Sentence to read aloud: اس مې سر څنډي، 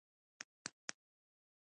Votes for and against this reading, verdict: 2, 0, accepted